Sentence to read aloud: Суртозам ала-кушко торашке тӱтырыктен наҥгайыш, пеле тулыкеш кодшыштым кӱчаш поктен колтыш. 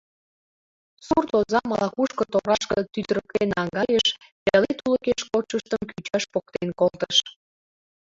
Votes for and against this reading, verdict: 0, 2, rejected